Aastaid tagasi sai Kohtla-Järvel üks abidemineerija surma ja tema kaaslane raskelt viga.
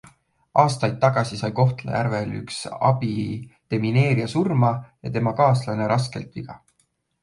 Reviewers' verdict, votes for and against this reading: accepted, 2, 1